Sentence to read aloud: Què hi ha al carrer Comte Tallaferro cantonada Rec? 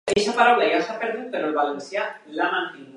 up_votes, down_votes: 0, 2